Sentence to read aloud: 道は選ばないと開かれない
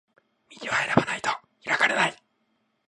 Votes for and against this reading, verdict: 2, 0, accepted